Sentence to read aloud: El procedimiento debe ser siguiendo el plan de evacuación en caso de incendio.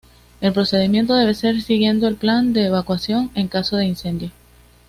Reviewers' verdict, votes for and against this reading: accepted, 2, 0